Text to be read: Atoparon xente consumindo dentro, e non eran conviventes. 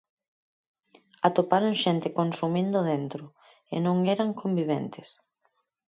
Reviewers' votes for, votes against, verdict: 4, 0, accepted